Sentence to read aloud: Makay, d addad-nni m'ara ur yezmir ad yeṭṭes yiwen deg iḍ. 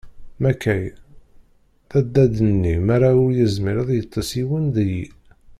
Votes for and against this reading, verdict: 1, 2, rejected